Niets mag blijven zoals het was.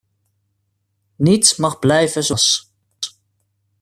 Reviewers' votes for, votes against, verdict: 1, 2, rejected